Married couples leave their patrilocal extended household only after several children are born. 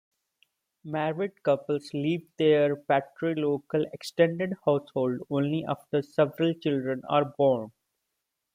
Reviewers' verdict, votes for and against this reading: accepted, 2, 0